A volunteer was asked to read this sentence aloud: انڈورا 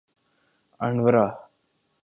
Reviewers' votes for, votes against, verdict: 2, 3, rejected